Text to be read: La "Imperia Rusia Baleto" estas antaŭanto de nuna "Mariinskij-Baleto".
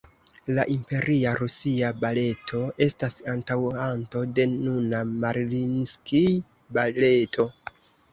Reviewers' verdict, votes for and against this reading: rejected, 1, 2